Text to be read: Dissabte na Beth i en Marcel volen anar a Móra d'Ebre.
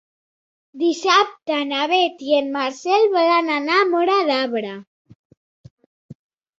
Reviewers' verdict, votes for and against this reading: accepted, 2, 1